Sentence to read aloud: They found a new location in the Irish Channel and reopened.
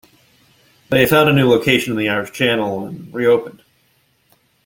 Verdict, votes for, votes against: rejected, 0, 2